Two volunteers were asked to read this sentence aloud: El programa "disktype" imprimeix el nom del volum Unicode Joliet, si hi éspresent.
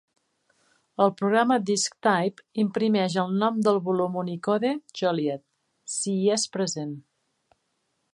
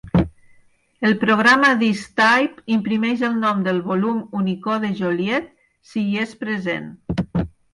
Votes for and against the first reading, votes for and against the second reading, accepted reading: 1, 2, 4, 0, second